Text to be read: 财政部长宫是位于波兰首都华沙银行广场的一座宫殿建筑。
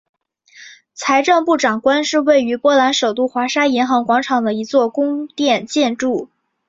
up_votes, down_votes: 2, 1